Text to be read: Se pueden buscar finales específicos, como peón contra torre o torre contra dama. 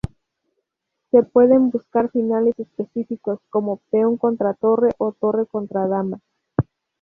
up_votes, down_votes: 0, 2